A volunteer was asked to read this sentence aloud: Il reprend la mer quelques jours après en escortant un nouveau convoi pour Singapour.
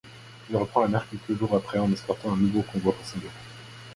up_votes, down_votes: 0, 2